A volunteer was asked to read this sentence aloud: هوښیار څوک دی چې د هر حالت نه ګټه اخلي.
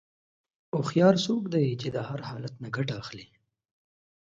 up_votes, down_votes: 2, 0